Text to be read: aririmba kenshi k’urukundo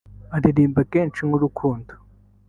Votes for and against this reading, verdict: 3, 0, accepted